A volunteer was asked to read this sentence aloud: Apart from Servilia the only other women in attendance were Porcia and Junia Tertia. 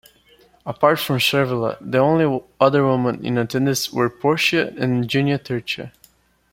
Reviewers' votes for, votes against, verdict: 1, 2, rejected